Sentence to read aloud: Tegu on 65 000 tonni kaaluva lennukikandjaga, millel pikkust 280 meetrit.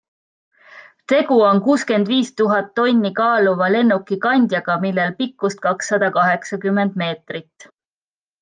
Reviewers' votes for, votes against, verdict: 0, 2, rejected